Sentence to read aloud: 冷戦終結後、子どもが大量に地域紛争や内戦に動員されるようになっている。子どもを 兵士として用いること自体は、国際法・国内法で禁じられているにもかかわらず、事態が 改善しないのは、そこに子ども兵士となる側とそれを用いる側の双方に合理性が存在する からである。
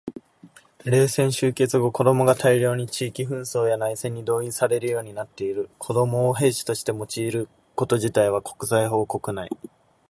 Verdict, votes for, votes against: accepted, 2, 0